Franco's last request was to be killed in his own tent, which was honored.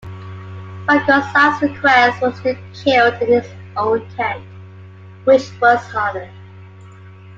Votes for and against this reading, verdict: 2, 1, accepted